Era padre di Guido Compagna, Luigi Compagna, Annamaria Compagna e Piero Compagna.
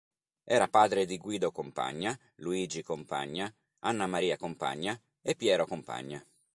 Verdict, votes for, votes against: accepted, 2, 0